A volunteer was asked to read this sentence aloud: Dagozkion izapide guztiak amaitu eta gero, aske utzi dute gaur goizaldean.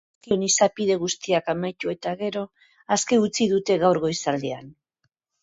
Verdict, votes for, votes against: rejected, 2, 2